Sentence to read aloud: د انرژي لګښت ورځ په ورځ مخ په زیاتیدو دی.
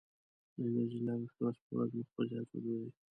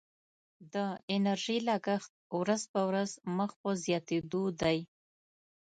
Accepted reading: second